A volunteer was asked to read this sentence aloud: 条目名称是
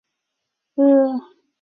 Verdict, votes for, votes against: rejected, 0, 2